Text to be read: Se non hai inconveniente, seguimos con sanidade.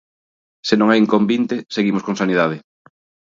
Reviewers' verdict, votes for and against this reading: rejected, 0, 2